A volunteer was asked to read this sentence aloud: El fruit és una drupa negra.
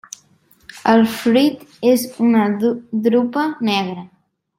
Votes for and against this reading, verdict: 2, 0, accepted